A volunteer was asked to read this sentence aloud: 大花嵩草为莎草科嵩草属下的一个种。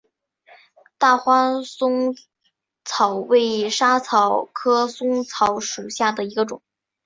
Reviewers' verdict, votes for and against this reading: accepted, 6, 3